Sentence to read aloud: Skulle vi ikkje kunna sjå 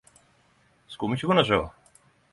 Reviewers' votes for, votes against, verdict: 5, 10, rejected